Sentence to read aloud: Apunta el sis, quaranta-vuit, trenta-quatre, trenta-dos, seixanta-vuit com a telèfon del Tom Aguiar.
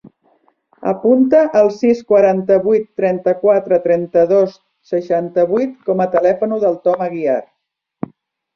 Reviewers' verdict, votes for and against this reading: rejected, 1, 2